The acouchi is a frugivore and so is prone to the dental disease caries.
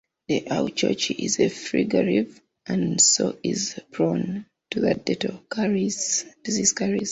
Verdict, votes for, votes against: rejected, 0, 2